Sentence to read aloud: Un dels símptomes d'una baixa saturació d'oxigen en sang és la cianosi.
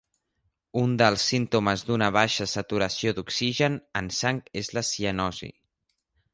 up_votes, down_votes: 2, 0